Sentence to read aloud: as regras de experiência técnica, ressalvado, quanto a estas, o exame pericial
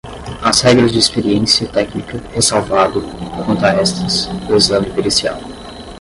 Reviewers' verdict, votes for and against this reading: accepted, 10, 0